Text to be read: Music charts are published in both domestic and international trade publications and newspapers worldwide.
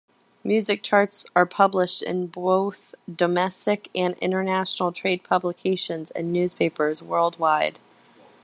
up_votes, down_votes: 0, 2